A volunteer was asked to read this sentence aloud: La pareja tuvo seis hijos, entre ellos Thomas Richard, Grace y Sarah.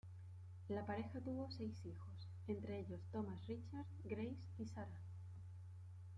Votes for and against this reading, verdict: 0, 2, rejected